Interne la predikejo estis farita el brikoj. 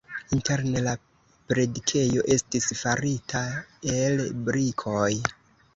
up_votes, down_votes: 0, 2